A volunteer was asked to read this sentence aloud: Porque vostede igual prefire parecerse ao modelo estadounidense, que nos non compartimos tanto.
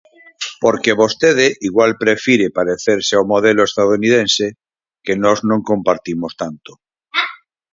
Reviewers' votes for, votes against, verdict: 4, 0, accepted